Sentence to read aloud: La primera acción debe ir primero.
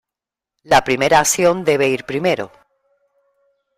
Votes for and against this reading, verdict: 3, 0, accepted